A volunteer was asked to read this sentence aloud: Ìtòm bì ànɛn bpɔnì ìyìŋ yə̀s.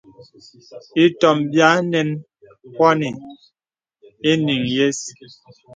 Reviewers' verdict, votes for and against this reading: accepted, 2, 0